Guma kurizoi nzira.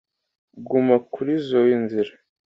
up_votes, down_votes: 2, 0